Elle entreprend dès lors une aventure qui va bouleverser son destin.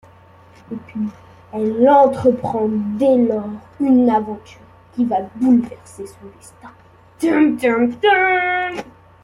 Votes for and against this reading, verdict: 1, 2, rejected